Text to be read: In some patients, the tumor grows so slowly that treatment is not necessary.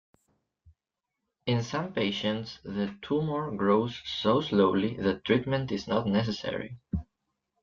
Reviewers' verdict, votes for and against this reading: accepted, 2, 0